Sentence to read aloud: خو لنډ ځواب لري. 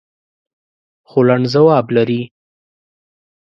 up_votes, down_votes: 2, 0